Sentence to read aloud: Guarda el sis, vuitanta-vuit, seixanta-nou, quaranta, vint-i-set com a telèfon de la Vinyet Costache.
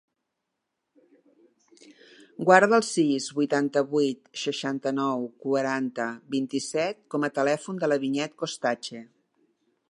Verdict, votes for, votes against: accepted, 4, 0